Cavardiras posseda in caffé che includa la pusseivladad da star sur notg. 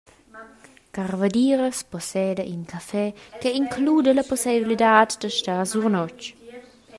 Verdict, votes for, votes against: rejected, 0, 2